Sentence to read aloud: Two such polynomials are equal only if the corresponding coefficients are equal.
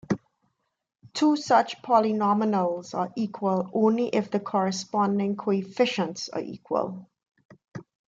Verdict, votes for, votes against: rejected, 3, 6